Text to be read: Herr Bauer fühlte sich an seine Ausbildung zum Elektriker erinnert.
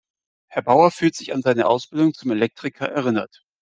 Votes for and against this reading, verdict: 0, 2, rejected